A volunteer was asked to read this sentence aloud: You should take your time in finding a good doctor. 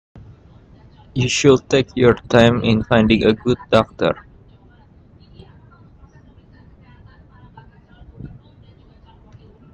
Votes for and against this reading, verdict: 1, 2, rejected